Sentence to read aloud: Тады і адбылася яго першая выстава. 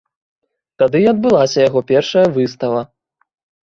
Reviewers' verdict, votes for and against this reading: rejected, 1, 2